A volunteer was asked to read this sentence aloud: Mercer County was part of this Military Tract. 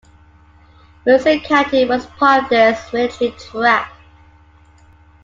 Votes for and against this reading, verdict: 0, 2, rejected